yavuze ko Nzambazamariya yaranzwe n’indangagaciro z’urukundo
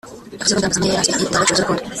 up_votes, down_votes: 0, 2